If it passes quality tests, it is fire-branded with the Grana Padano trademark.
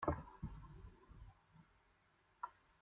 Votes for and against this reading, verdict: 1, 2, rejected